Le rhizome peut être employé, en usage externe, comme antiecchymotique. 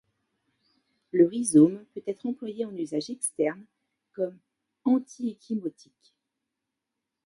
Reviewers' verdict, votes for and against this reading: rejected, 1, 2